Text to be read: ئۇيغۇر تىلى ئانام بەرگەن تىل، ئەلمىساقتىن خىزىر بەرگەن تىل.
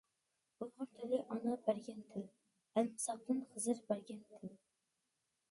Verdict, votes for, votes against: rejected, 1, 2